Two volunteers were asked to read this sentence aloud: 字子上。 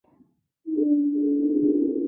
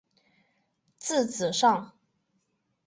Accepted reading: second